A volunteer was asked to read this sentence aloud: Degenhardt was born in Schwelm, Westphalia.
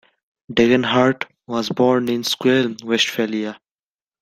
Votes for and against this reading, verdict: 1, 2, rejected